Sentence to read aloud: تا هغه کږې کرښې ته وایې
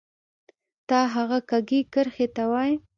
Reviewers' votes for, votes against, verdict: 2, 0, accepted